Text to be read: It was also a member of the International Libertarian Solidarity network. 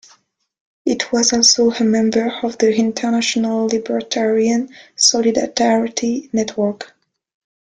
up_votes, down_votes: 2, 1